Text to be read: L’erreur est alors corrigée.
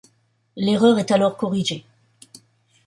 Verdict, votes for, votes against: accepted, 2, 0